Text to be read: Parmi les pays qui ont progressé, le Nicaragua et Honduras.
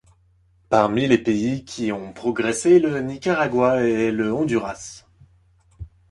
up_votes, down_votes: 0, 2